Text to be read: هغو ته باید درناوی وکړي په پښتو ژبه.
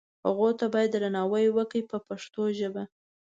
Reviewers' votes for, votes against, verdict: 3, 0, accepted